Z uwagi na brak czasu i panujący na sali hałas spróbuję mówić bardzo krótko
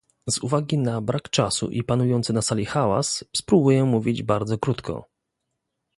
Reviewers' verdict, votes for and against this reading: accepted, 2, 0